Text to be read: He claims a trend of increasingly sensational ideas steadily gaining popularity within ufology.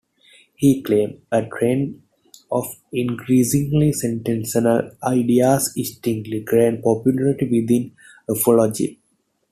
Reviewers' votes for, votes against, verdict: 1, 2, rejected